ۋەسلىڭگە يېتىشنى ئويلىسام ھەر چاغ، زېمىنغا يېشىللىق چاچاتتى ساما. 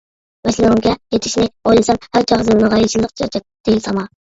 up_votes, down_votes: 1, 2